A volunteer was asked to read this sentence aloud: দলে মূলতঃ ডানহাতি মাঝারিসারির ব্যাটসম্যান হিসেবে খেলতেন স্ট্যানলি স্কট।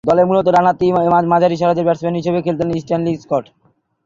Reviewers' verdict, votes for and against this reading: rejected, 0, 2